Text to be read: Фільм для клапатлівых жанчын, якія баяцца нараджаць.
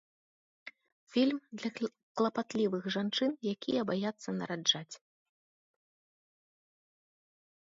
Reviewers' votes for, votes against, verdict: 1, 2, rejected